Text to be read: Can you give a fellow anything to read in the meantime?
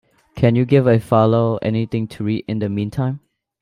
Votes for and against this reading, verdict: 0, 2, rejected